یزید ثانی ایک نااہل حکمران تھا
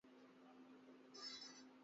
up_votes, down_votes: 0, 3